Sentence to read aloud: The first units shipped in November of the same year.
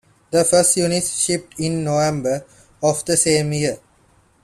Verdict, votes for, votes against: accepted, 2, 0